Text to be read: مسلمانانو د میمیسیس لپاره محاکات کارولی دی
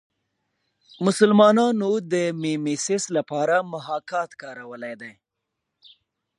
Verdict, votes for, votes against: accepted, 2, 0